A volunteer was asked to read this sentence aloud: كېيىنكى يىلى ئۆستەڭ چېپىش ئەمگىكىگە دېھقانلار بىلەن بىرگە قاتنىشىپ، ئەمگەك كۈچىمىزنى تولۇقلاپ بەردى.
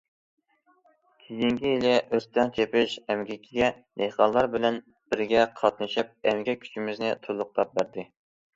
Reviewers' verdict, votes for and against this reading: accepted, 2, 0